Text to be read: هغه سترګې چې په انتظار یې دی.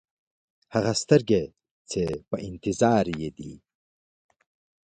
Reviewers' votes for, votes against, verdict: 2, 0, accepted